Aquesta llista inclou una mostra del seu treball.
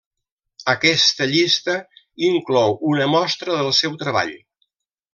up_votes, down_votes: 3, 0